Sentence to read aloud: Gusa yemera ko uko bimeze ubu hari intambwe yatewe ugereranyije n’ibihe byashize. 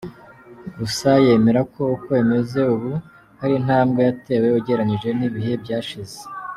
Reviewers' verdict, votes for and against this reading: accepted, 2, 0